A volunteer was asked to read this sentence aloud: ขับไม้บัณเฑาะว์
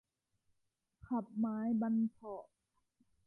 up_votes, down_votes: 1, 2